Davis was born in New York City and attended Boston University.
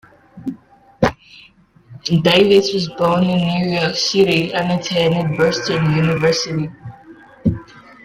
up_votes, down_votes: 2, 1